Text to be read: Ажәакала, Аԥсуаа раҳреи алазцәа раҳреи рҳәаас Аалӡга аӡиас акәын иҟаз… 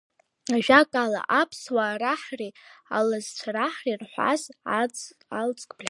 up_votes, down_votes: 0, 2